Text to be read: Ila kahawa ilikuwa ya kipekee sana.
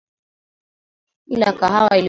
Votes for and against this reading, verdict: 0, 3, rejected